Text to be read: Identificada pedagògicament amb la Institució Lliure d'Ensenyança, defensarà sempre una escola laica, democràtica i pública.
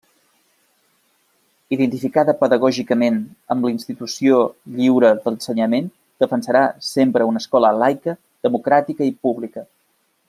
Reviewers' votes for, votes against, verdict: 1, 2, rejected